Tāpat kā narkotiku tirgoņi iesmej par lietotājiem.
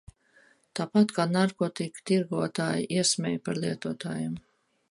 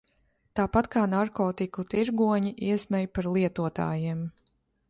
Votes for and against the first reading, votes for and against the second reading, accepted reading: 0, 2, 2, 0, second